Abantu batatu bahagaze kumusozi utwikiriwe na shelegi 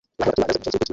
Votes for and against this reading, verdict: 0, 2, rejected